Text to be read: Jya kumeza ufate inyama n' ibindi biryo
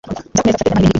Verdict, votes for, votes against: rejected, 1, 2